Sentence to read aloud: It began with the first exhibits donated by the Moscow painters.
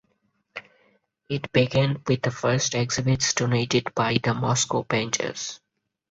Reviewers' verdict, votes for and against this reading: accepted, 4, 0